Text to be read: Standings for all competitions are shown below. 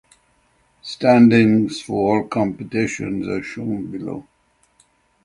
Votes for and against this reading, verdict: 3, 0, accepted